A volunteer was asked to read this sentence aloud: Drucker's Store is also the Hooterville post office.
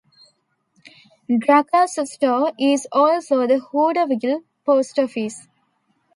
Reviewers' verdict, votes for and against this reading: rejected, 0, 2